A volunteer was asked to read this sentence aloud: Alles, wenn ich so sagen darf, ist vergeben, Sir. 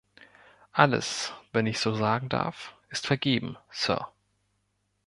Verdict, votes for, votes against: accepted, 2, 0